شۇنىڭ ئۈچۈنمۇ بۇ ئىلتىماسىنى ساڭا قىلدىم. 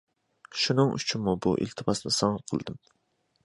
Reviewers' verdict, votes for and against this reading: accepted, 2, 0